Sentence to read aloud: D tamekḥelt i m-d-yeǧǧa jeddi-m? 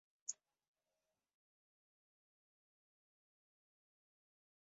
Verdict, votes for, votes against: rejected, 0, 2